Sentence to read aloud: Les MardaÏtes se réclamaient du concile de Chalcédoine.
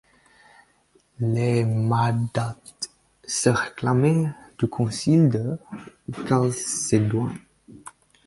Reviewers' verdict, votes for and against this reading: rejected, 2, 4